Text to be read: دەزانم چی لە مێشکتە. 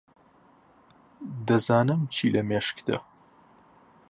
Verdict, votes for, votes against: accepted, 2, 0